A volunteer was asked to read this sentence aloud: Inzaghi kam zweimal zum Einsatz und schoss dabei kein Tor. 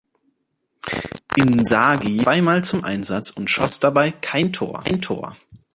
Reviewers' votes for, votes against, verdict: 0, 2, rejected